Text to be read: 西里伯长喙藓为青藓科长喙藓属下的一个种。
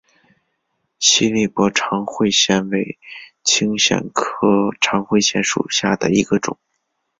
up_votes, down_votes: 2, 0